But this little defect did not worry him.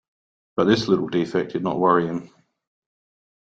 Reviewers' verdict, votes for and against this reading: accepted, 2, 0